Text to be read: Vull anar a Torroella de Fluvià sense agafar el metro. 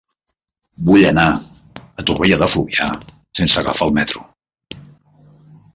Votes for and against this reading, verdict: 0, 2, rejected